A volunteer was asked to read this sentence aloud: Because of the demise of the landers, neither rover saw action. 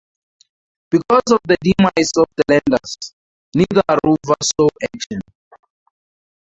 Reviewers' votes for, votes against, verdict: 6, 8, rejected